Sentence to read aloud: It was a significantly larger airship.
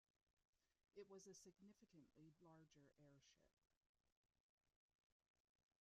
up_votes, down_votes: 0, 2